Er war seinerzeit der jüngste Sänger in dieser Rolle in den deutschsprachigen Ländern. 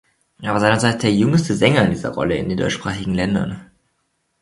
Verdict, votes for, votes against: rejected, 0, 2